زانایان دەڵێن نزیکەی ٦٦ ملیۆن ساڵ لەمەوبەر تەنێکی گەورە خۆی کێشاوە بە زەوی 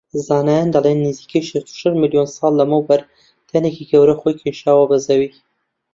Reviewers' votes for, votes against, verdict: 0, 2, rejected